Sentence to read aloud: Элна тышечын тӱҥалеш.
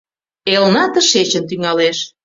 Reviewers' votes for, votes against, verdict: 2, 0, accepted